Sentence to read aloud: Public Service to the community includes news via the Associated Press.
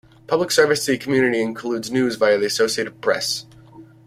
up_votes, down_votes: 2, 0